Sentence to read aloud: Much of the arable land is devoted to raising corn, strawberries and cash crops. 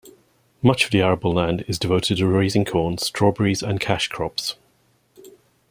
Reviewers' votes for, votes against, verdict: 2, 0, accepted